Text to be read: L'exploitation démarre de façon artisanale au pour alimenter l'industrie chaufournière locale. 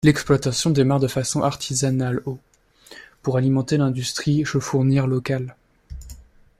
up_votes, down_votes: 1, 2